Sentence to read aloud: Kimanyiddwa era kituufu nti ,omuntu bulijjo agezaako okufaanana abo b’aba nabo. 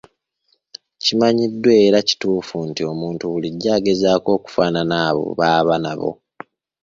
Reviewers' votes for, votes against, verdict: 1, 2, rejected